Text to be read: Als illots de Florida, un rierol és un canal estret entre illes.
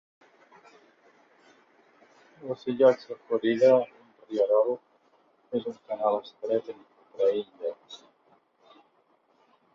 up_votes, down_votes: 1, 2